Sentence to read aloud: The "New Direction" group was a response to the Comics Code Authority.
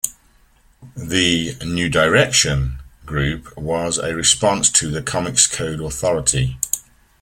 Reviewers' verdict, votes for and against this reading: accepted, 2, 0